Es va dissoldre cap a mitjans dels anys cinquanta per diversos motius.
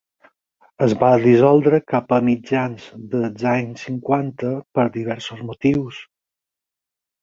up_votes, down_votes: 4, 0